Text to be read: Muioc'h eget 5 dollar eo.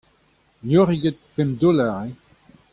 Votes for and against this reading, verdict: 0, 2, rejected